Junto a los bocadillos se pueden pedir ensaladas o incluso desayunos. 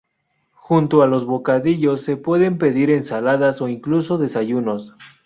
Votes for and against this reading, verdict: 2, 0, accepted